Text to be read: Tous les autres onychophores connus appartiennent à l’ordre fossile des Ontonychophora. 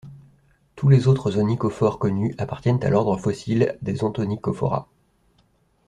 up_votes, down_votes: 2, 1